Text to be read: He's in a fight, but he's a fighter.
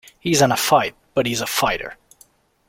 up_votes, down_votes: 2, 0